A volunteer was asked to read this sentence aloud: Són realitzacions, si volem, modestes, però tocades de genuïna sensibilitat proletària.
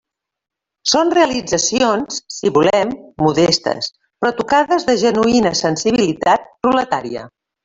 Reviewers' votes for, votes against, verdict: 0, 2, rejected